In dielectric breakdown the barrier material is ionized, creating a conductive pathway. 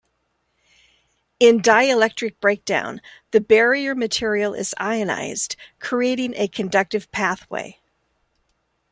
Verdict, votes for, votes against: accepted, 2, 1